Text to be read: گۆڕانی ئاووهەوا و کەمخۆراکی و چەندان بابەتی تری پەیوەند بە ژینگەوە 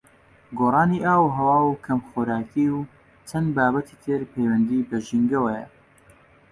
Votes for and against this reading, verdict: 2, 1, accepted